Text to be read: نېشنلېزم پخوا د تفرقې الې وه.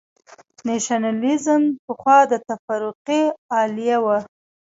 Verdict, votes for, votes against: accepted, 2, 0